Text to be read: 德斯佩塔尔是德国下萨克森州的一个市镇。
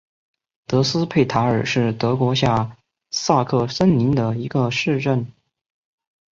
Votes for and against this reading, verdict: 1, 5, rejected